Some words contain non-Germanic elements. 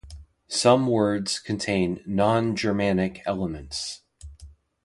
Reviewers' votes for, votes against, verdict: 2, 0, accepted